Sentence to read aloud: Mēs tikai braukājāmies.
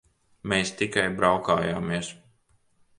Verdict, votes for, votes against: accepted, 2, 0